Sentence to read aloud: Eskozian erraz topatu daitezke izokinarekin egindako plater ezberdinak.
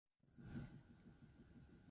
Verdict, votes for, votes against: rejected, 0, 6